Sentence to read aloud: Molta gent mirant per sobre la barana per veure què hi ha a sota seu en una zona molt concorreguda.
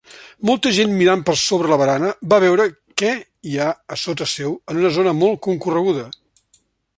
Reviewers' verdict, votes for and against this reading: rejected, 0, 2